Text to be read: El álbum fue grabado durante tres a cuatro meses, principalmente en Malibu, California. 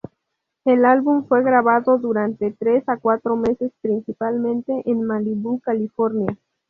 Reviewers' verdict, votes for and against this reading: accepted, 2, 0